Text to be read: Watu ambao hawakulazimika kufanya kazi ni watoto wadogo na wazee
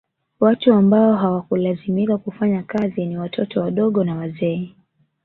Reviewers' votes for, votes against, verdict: 2, 0, accepted